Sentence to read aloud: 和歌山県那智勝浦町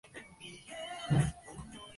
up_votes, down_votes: 0, 2